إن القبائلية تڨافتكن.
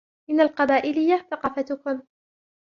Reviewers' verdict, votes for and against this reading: accepted, 3, 1